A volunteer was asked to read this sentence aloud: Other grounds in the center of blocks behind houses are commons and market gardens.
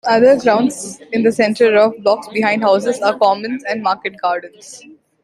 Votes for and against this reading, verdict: 0, 2, rejected